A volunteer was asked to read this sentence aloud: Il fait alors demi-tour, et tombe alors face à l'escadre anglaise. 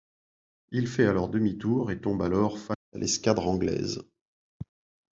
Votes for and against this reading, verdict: 0, 2, rejected